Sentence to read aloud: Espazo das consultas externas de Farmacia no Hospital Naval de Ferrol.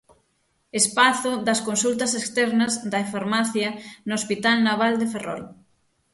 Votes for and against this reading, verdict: 0, 6, rejected